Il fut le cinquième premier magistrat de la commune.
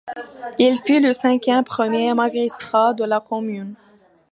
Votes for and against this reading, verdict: 2, 1, accepted